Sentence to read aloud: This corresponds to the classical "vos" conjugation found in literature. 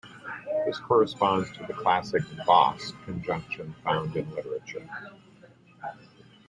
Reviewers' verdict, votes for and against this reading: rejected, 1, 2